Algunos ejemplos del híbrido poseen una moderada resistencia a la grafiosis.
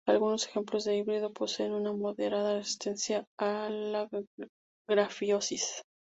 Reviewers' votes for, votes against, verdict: 0, 2, rejected